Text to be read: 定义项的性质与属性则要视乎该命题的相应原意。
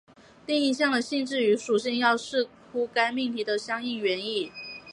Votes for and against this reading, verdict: 4, 1, accepted